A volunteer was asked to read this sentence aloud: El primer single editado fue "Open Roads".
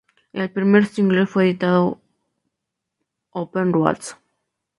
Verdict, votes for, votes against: accepted, 2, 0